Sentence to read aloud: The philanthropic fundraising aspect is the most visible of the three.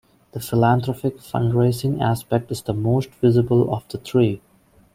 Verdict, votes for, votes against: accepted, 2, 0